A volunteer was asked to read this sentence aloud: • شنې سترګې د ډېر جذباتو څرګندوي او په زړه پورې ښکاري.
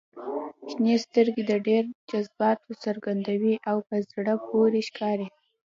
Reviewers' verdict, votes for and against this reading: accepted, 2, 0